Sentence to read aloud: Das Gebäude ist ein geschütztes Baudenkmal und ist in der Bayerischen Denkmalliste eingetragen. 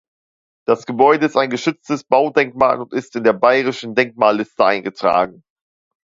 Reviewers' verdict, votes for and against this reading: accepted, 2, 0